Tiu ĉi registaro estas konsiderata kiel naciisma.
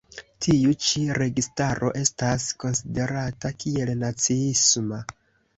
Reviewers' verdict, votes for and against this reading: accepted, 2, 0